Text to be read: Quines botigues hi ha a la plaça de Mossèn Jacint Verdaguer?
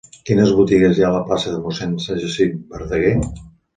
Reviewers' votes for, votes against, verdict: 0, 2, rejected